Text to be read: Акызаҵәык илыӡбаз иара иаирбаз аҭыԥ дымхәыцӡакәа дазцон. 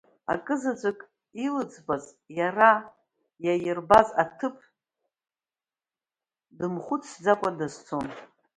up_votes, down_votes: 2, 0